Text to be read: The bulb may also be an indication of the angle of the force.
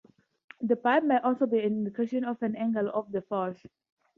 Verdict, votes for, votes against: accepted, 4, 0